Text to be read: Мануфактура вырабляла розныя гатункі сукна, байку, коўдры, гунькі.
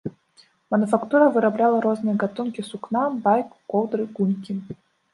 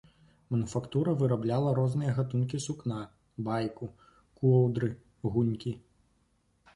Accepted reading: second